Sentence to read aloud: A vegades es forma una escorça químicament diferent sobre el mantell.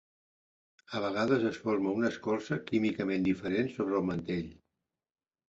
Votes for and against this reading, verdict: 3, 0, accepted